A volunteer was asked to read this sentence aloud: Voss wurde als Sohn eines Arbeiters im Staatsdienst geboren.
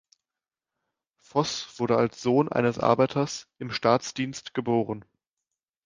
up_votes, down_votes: 2, 0